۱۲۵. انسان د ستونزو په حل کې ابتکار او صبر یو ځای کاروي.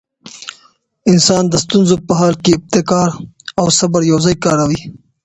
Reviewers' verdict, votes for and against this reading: rejected, 0, 2